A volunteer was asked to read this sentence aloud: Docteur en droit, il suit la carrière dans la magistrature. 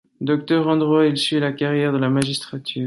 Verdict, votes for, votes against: accepted, 2, 0